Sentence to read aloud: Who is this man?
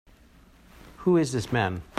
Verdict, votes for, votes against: accepted, 4, 0